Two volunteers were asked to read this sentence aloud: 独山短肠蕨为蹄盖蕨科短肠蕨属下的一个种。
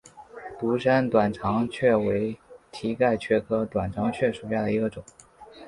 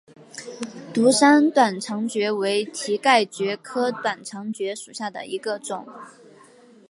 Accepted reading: second